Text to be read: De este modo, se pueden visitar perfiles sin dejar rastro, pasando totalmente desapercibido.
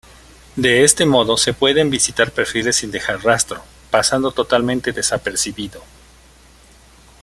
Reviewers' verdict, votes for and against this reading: accepted, 2, 0